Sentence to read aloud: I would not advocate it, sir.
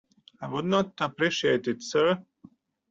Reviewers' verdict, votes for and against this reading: rejected, 0, 2